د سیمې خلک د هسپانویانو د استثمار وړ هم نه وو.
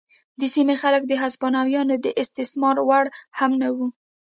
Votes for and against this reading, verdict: 2, 0, accepted